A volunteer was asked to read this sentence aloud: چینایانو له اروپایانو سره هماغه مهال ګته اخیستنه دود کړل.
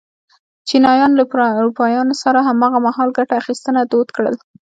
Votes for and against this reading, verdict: 2, 1, accepted